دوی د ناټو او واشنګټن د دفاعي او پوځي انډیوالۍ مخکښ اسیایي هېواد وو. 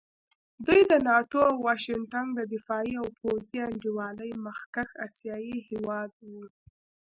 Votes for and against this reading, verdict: 1, 2, rejected